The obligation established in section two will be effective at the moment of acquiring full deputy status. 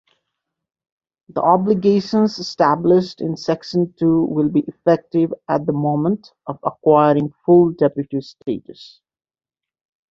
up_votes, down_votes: 1, 2